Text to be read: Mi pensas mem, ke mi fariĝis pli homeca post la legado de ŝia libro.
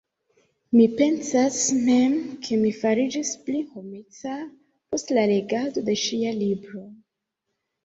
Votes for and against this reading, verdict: 2, 1, accepted